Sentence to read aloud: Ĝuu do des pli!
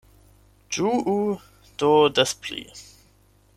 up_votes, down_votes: 8, 0